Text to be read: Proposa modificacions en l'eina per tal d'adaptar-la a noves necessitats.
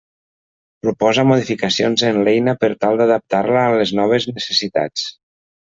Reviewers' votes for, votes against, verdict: 1, 2, rejected